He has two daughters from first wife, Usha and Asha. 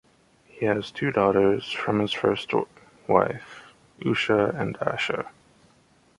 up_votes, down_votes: 0, 2